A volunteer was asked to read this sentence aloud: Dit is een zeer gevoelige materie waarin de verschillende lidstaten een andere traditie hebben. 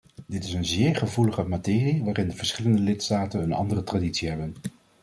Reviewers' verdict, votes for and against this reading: accepted, 2, 0